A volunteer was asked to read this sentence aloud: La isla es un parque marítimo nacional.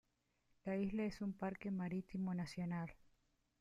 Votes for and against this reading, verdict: 2, 1, accepted